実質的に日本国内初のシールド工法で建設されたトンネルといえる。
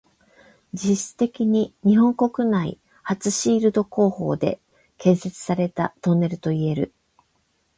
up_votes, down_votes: 4, 8